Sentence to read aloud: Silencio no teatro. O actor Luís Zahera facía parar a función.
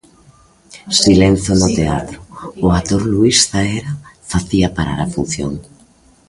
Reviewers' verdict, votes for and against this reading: rejected, 0, 2